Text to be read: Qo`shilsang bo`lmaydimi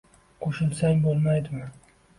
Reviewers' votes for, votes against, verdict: 2, 0, accepted